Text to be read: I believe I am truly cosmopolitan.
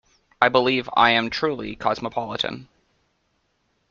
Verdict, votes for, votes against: accepted, 2, 0